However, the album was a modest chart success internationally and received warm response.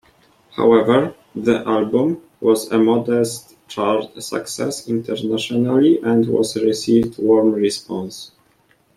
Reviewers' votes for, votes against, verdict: 0, 2, rejected